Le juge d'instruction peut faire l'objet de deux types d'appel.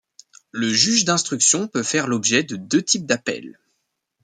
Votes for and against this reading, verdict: 2, 0, accepted